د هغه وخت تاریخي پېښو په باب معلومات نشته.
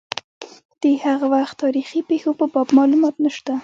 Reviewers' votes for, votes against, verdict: 1, 2, rejected